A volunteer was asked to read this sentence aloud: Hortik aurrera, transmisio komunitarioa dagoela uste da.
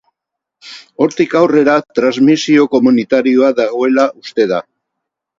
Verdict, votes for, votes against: accepted, 2, 0